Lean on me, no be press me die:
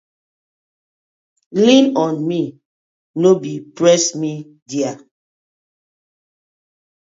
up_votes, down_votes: 0, 2